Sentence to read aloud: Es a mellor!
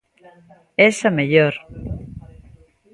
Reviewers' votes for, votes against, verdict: 2, 0, accepted